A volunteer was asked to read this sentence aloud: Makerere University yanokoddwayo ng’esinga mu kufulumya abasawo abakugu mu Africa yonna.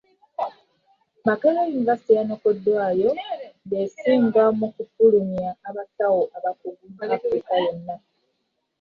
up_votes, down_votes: 1, 2